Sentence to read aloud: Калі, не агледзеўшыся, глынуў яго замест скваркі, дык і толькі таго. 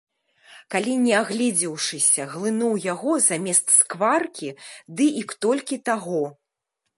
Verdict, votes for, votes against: rejected, 1, 2